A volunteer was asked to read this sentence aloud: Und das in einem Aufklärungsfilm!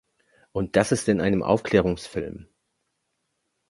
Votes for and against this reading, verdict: 1, 2, rejected